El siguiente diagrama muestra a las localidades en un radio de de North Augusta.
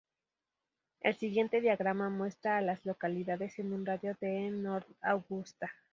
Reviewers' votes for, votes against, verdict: 0, 2, rejected